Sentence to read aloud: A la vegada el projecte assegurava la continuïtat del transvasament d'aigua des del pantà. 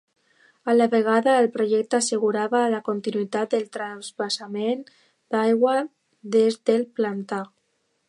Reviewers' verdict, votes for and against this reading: rejected, 1, 2